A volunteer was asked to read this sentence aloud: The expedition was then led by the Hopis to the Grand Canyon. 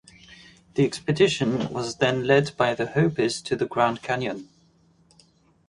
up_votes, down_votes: 2, 0